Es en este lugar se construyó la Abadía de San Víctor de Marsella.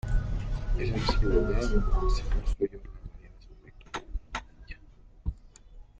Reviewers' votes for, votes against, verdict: 0, 2, rejected